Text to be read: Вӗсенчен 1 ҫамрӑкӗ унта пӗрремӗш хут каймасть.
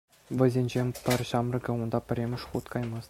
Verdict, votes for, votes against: rejected, 0, 2